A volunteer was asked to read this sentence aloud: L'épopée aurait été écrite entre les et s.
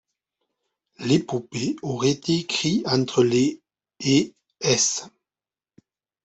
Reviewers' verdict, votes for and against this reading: rejected, 0, 2